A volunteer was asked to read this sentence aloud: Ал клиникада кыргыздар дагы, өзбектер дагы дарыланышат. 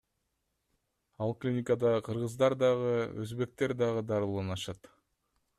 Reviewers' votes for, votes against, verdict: 2, 0, accepted